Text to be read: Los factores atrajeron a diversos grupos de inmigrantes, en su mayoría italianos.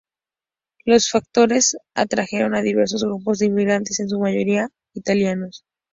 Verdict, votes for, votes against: accepted, 2, 0